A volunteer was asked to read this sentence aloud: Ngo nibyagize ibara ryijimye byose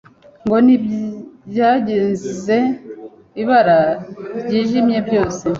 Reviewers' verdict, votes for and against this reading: rejected, 1, 2